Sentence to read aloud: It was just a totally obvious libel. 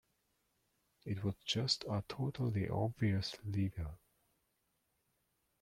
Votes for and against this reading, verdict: 1, 2, rejected